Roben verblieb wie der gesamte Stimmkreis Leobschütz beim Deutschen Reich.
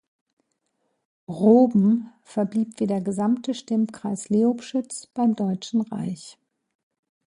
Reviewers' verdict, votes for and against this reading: accepted, 2, 0